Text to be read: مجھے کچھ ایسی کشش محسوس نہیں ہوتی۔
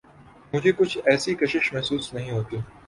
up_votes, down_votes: 5, 0